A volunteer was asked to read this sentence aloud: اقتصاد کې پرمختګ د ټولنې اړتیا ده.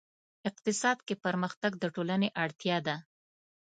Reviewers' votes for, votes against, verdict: 2, 0, accepted